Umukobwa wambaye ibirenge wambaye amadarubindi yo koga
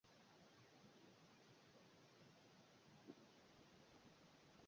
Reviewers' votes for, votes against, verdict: 0, 2, rejected